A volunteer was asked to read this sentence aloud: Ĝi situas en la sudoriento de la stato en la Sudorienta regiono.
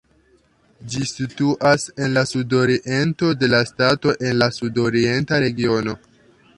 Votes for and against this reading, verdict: 2, 1, accepted